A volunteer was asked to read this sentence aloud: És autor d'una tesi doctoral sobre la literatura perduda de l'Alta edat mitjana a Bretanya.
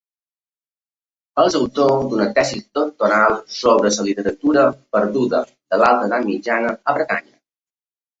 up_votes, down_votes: 0, 2